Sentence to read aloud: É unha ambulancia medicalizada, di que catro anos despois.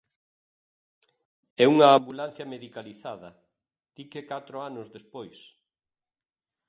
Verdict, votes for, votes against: rejected, 1, 2